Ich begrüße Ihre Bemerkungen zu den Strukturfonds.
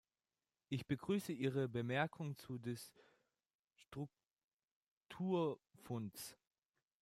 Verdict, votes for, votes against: rejected, 0, 2